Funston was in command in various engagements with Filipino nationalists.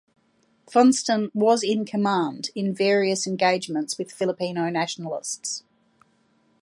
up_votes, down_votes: 2, 0